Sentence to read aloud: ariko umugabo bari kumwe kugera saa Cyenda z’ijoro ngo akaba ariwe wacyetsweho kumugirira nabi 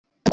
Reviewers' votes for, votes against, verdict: 0, 2, rejected